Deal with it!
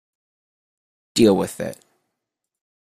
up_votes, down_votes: 2, 0